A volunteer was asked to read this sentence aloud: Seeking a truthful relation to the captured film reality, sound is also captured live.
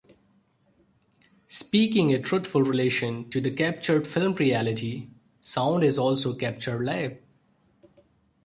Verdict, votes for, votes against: rejected, 1, 2